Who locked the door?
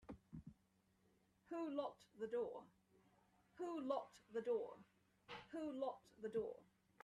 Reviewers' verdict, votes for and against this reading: rejected, 0, 2